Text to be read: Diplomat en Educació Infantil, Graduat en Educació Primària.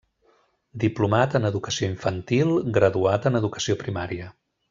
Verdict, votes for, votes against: accepted, 3, 0